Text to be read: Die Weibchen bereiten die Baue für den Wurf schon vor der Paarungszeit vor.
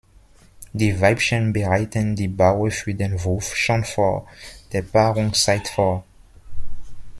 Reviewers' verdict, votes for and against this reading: accepted, 2, 0